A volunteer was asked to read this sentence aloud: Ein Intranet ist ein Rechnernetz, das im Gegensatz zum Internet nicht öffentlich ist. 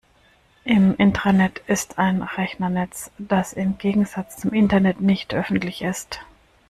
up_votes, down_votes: 0, 2